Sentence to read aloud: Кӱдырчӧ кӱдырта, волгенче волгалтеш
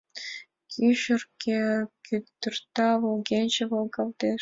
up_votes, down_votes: 0, 2